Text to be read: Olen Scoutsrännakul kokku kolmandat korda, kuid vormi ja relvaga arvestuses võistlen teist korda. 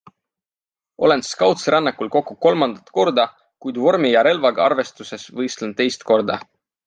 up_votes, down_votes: 3, 0